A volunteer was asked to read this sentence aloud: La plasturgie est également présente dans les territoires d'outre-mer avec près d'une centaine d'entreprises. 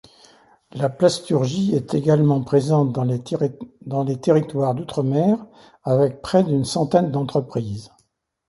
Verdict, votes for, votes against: rejected, 1, 2